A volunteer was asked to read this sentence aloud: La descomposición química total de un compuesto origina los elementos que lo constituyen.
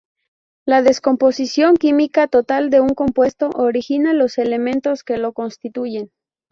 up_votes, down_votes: 2, 0